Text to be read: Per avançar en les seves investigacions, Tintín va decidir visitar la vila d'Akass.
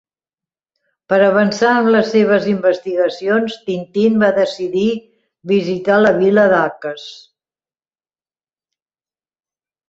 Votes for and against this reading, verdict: 4, 0, accepted